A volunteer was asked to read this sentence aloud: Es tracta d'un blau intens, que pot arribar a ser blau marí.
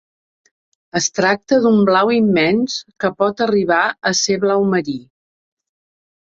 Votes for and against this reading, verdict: 1, 2, rejected